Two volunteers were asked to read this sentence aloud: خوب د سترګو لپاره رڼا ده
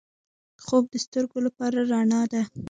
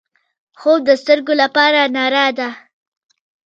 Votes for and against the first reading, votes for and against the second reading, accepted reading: 2, 0, 1, 2, first